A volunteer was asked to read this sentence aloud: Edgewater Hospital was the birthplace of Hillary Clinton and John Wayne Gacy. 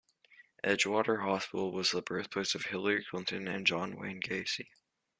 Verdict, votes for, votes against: accepted, 2, 0